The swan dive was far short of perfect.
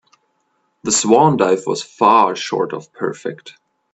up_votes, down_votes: 2, 0